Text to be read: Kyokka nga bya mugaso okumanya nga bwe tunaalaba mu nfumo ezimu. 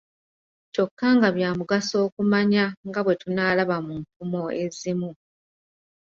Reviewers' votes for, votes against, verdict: 2, 0, accepted